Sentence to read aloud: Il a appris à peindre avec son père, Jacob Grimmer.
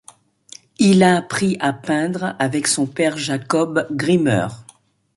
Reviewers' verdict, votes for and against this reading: accepted, 2, 0